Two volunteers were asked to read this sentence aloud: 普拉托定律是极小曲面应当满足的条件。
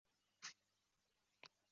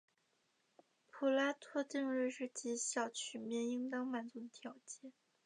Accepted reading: second